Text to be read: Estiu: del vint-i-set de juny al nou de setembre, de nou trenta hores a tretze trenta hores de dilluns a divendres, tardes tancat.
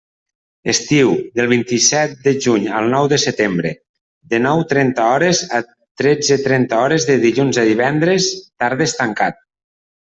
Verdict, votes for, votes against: accepted, 2, 0